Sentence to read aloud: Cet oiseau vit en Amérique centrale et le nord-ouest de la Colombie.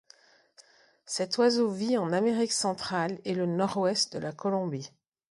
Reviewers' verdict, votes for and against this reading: accepted, 2, 0